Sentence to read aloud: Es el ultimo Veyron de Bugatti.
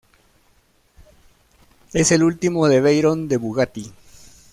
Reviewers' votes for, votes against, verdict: 0, 2, rejected